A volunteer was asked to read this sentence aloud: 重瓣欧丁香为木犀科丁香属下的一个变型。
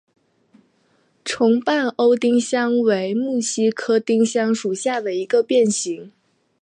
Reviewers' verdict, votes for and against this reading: accepted, 2, 0